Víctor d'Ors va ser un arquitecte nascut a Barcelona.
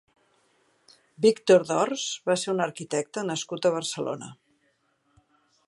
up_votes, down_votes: 2, 0